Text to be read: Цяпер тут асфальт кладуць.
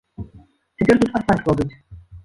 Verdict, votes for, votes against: rejected, 0, 2